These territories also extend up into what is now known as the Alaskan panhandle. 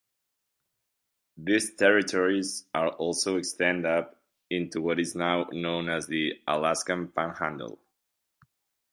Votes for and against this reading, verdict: 1, 2, rejected